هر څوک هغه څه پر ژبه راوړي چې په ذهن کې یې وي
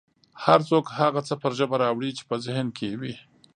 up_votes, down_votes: 2, 0